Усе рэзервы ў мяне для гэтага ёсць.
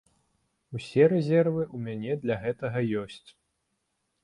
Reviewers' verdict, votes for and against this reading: accepted, 2, 0